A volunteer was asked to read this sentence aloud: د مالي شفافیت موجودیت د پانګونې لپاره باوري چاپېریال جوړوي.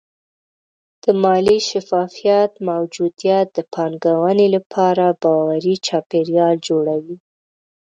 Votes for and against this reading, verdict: 2, 0, accepted